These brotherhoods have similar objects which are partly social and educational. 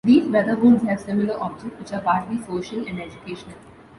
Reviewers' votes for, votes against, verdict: 2, 0, accepted